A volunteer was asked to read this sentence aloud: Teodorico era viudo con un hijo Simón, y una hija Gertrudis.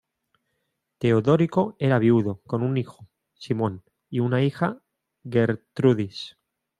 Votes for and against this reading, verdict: 1, 2, rejected